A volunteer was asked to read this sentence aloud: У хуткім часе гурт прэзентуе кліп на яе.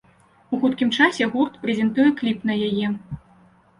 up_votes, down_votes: 2, 0